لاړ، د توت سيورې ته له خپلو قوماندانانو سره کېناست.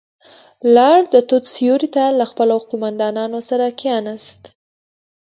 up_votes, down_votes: 2, 0